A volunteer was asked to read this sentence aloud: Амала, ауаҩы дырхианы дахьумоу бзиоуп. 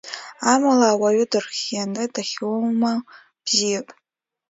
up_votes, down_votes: 1, 2